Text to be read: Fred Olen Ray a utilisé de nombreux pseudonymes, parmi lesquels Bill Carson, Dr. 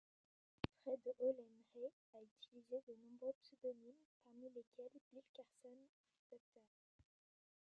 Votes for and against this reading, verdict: 0, 2, rejected